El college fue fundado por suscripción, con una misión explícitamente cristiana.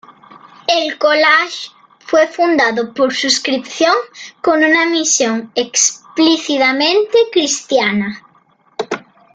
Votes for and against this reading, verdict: 1, 2, rejected